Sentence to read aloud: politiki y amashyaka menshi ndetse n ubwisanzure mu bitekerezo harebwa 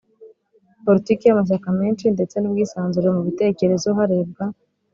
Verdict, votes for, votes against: accepted, 4, 0